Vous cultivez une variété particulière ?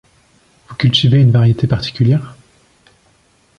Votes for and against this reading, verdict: 2, 0, accepted